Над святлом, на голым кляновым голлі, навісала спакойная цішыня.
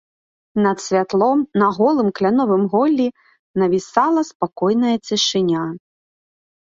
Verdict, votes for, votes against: accepted, 4, 0